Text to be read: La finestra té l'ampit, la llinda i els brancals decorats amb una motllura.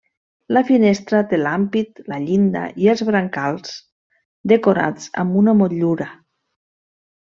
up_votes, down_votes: 1, 2